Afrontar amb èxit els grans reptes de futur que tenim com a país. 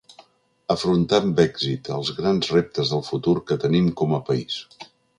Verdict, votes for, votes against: rejected, 0, 2